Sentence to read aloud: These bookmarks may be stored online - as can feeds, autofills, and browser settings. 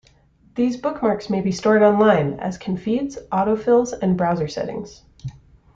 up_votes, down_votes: 2, 0